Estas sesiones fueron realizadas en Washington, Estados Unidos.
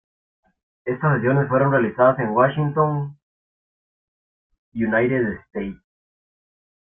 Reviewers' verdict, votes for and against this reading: rejected, 0, 2